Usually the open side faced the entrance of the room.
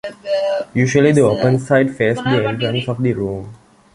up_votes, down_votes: 1, 2